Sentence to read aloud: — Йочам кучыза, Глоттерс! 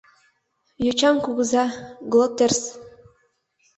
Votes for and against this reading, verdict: 0, 2, rejected